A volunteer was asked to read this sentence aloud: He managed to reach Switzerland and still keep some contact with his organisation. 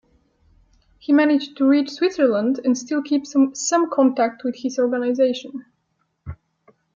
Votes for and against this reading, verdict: 2, 1, accepted